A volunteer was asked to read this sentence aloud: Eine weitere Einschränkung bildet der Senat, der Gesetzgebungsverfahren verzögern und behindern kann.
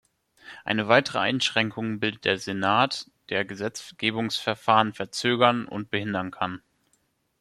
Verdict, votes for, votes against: rejected, 1, 2